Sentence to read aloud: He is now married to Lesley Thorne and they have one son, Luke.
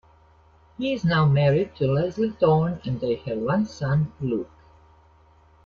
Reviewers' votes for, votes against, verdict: 2, 0, accepted